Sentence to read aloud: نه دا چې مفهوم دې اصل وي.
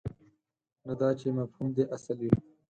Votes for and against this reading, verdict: 4, 2, accepted